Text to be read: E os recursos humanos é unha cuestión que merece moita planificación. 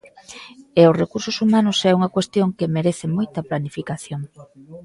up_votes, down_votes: 2, 1